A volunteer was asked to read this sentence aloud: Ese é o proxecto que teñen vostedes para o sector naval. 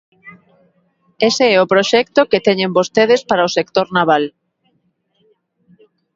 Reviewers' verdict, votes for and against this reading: accepted, 2, 0